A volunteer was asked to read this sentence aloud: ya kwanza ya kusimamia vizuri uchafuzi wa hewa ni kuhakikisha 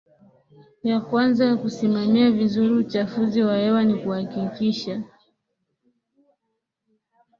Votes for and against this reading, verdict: 2, 0, accepted